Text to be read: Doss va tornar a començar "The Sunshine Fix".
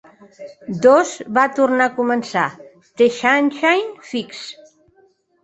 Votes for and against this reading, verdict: 0, 2, rejected